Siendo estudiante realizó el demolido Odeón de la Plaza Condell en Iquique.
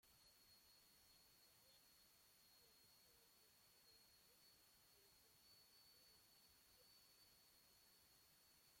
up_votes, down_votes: 0, 2